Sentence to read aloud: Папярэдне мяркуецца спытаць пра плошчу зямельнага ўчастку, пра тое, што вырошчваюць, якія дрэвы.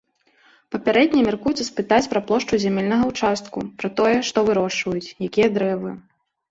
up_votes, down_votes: 2, 1